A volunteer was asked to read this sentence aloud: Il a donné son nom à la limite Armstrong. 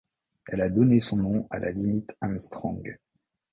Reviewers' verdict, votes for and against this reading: rejected, 0, 2